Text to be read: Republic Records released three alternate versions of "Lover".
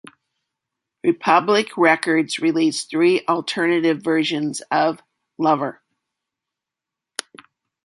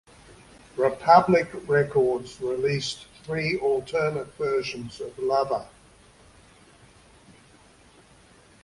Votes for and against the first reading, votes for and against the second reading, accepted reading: 1, 2, 2, 1, second